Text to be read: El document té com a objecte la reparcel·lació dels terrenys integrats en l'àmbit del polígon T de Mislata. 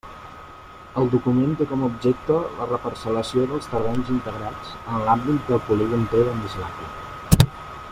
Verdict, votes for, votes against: rejected, 1, 2